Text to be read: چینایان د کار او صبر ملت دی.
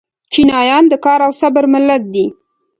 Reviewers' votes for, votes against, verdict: 1, 2, rejected